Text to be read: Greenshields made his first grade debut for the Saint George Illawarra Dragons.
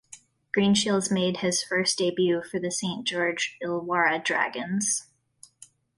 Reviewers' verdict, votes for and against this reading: rejected, 1, 2